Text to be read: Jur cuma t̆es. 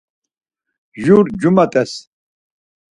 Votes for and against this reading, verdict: 4, 0, accepted